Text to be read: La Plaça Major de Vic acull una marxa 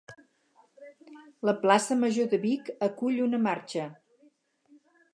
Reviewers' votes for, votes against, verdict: 2, 0, accepted